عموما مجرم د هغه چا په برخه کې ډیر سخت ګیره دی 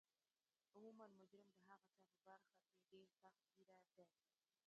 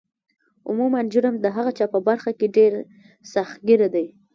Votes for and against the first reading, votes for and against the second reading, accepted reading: 0, 2, 2, 0, second